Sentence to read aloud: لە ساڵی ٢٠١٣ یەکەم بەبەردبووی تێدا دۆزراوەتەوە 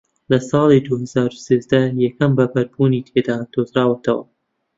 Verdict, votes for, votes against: rejected, 0, 2